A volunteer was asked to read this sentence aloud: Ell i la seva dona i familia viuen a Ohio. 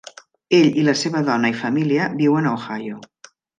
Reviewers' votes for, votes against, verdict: 3, 0, accepted